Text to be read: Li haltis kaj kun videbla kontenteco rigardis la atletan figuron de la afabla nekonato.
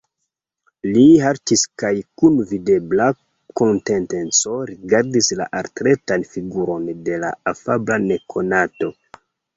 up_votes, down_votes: 1, 2